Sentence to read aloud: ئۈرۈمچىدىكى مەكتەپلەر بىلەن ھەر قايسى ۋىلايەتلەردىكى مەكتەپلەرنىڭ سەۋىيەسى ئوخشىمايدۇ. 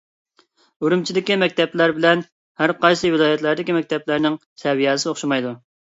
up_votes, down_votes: 2, 0